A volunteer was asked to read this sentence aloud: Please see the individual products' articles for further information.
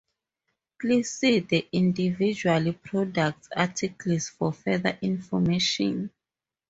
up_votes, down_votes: 2, 2